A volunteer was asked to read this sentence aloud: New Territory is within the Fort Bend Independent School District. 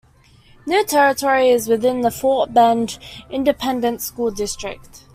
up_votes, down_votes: 2, 0